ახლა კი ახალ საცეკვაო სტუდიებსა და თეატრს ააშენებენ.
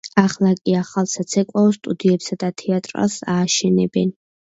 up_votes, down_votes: 0, 2